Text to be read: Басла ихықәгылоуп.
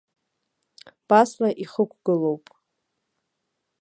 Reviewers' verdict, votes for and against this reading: accepted, 2, 1